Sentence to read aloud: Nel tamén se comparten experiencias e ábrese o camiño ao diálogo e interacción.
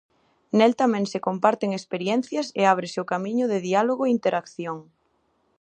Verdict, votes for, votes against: rejected, 0, 2